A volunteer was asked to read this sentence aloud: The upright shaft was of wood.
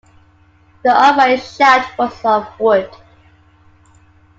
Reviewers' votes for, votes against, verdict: 2, 1, accepted